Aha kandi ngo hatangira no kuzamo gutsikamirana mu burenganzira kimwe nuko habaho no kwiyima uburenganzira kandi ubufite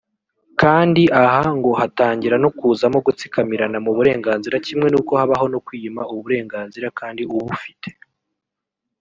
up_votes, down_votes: 0, 2